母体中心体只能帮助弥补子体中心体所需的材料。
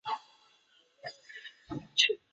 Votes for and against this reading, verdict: 0, 4, rejected